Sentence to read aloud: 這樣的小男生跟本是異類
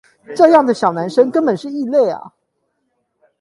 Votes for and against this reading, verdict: 0, 8, rejected